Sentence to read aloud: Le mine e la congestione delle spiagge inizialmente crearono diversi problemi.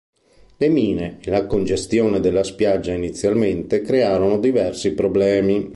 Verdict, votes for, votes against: rejected, 1, 2